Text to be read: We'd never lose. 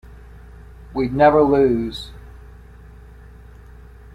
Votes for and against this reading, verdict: 3, 0, accepted